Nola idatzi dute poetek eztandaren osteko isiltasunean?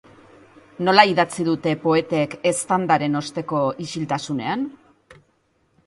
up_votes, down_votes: 2, 0